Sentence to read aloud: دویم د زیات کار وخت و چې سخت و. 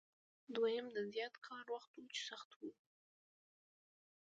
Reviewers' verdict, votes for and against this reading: accepted, 2, 1